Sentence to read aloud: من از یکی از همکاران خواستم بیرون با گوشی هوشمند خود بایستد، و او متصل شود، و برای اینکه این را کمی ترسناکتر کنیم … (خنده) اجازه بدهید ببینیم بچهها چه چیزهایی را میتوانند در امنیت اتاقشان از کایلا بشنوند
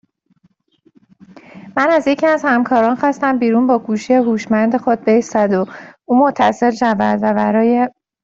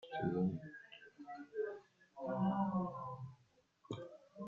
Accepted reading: first